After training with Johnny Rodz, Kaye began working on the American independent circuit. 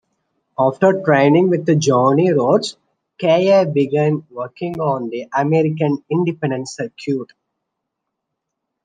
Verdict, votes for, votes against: rejected, 2, 3